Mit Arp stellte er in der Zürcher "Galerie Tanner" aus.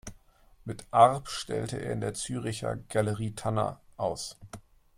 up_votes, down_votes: 2, 0